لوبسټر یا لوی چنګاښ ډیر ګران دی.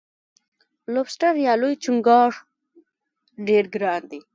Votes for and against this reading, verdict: 1, 2, rejected